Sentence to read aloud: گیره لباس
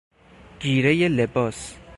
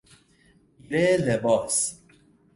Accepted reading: first